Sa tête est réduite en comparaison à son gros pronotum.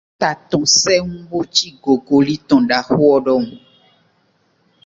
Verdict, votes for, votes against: rejected, 1, 2